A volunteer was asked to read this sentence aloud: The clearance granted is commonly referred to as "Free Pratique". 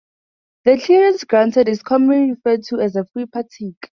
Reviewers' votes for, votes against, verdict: 0, 2, rejected